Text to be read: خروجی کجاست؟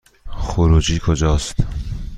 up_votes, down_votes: 2, 0